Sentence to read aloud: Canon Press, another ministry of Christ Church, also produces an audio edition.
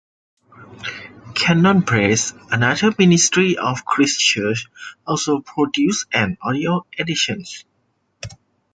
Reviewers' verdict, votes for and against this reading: rejected, 1, 2